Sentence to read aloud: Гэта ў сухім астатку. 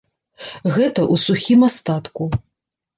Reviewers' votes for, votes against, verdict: 2, 1, accepted